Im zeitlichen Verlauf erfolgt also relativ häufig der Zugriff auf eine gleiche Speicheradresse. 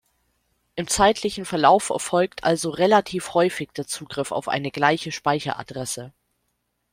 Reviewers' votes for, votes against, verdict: 2, 0, accepted